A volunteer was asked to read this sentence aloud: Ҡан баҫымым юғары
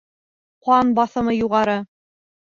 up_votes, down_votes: 0, 2